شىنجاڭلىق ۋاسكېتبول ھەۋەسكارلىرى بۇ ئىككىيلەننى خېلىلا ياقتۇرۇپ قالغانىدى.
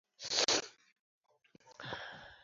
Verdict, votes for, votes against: rejected, 0, 2